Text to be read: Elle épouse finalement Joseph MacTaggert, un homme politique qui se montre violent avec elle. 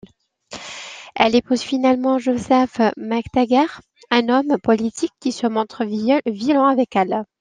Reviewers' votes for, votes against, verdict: 1, 2, rejected